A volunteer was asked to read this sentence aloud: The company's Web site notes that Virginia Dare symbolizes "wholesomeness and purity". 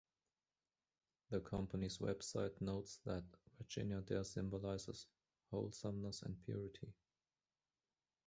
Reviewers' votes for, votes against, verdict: 2, 1, accepted